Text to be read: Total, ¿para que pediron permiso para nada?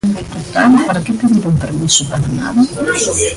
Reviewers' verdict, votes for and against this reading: rejected, 0, 2